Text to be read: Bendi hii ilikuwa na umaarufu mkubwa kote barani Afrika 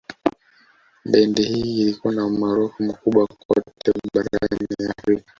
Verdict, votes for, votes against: rejected, 0, 2